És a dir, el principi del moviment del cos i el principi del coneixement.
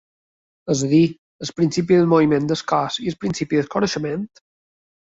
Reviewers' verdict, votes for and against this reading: rejected, 1, 2